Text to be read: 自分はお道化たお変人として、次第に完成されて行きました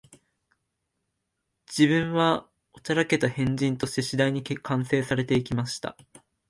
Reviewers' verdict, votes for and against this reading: rejected, 0, 2